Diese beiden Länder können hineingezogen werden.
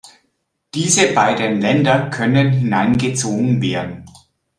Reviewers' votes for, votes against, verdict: 2, 0, accepted